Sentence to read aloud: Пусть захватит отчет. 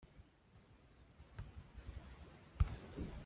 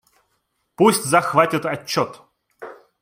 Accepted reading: second